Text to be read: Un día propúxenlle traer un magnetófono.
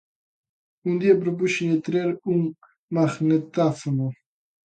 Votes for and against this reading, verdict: 0, 2, rejected